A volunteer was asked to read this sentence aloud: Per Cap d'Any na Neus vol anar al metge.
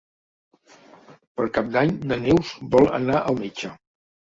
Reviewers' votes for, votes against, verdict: 4, 0, accepted